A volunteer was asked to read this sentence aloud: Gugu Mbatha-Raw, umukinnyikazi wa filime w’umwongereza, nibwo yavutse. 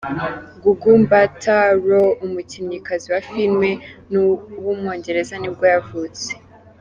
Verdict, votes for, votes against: accepted, 2, 1